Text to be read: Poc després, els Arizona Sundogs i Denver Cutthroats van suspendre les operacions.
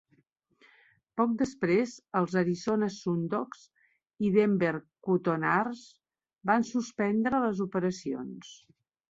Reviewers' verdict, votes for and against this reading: rejected, 0, 2